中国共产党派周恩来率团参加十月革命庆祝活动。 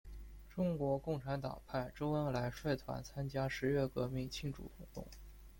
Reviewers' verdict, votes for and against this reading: rejected, 1, 2